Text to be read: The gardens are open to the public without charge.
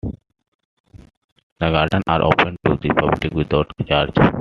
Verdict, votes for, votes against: rejected, 1, 2